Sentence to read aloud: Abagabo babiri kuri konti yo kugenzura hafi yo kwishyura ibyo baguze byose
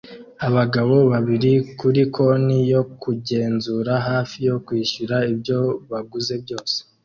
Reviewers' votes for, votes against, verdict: 2, 0, accepted